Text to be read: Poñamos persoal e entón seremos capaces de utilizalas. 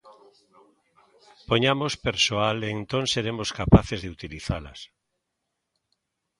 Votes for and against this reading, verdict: 1, 2, rejected